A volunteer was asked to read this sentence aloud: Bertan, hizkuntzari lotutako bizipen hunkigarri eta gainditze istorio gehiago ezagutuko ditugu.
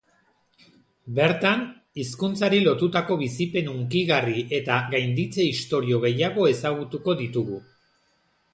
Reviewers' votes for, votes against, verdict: 2, 0, accepted